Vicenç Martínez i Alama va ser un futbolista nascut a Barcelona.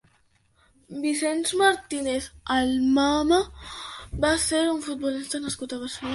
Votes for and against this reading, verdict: 0, 2, rejected